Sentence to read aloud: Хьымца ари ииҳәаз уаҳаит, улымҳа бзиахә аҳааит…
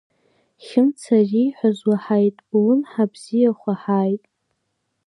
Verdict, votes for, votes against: accepted, 3, 2